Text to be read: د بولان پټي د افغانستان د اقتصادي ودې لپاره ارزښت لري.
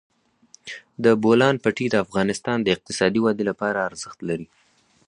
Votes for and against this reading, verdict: 4, 0, accepted